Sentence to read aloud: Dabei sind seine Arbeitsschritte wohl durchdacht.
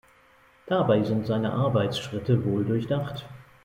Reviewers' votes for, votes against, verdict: 2, 0, accepted